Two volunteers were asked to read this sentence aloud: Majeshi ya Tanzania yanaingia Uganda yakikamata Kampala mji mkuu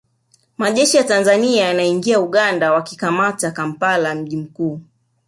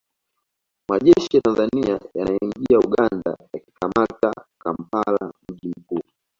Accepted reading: second